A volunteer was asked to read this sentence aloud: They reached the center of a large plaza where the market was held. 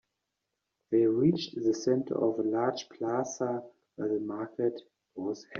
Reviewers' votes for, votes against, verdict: 1, 2, rejected